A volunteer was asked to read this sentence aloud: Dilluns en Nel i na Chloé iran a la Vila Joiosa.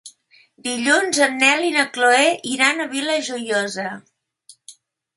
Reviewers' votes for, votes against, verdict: 1, 2, rejected